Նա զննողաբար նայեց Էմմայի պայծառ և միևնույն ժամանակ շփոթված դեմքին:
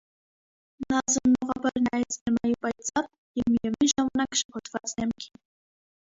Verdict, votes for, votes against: rejected, 0, 2